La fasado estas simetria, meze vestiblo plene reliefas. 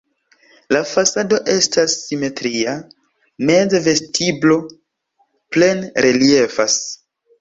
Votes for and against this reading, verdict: 2, 1, accepted